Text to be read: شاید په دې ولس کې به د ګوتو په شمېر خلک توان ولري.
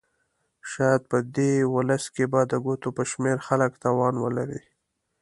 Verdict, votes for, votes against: accepted, 2, 0